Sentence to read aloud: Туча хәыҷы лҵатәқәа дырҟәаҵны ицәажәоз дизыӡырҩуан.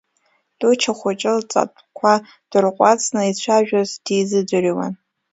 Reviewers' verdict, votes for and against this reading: rejected, 0, 2